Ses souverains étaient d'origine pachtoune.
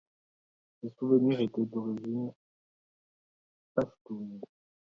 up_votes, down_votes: 0, 2